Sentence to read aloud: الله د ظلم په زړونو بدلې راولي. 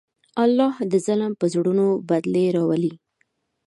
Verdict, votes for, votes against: accepted, 2, 0